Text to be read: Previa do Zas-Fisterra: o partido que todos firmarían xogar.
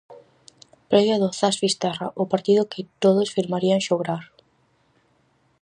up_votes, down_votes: 0, 4